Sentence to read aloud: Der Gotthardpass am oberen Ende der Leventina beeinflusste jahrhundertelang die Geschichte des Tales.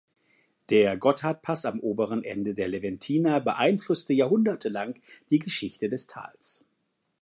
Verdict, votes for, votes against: accepted, 3, 0